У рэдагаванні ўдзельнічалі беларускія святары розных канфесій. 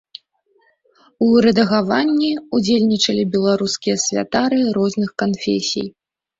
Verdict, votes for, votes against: rejected, 1, 2